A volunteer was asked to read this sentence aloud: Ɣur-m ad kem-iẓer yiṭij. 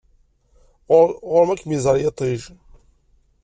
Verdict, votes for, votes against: rejected, 1, 2